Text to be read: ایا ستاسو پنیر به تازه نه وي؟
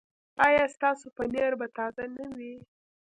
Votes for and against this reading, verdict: 2, 0, accepted